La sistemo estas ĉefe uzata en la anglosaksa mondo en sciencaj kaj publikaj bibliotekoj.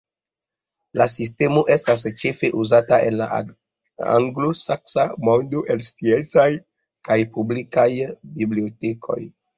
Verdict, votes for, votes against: accepted, 2, 0